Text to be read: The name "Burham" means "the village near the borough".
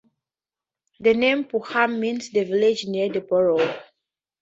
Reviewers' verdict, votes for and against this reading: accepted, 2, 0